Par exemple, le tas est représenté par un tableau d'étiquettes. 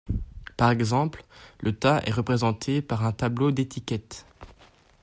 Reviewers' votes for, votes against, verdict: 2, 0, accepted